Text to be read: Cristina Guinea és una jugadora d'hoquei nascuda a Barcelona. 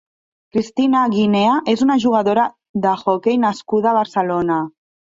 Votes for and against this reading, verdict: 0, 2, rejected